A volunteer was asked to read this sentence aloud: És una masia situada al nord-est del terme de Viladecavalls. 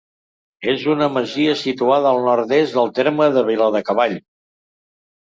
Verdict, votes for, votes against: rejected, 0, 2